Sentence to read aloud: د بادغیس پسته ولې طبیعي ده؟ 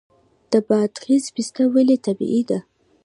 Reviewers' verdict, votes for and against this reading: accepted, 2, 0